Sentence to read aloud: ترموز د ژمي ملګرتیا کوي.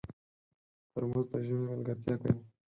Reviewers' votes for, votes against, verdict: 4, 2, accepted